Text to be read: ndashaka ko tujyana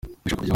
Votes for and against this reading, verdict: 0, 2, rejected